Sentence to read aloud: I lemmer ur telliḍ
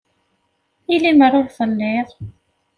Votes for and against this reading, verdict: 2, 0, accepted